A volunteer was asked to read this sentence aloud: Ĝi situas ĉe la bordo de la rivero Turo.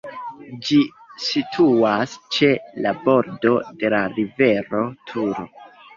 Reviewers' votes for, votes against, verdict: 2, 0, accepted